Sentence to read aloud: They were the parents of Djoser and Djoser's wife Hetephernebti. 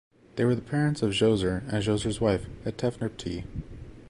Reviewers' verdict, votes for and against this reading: accepted, 2, 0